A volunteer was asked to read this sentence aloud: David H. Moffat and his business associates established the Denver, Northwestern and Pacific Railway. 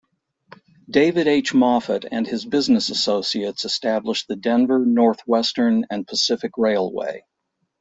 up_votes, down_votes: 2, 0